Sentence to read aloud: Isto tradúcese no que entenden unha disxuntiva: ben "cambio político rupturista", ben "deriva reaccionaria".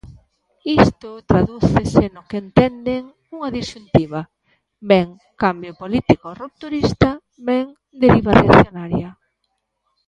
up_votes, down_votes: 2, 1